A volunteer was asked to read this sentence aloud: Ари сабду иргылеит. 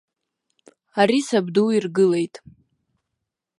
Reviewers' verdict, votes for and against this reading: accepted, 2, 0